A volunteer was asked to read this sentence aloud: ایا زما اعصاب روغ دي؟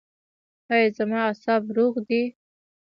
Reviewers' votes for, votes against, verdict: 2, 0, accepted